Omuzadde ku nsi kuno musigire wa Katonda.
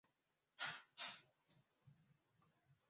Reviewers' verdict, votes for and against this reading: rejected, 1, 2